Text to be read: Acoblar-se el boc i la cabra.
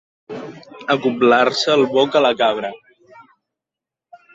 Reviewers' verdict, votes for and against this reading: rejected, 1, 3